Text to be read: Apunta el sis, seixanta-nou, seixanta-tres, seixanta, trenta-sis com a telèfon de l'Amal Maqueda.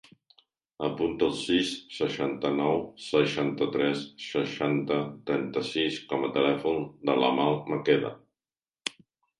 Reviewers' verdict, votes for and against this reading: accepted, 2, 0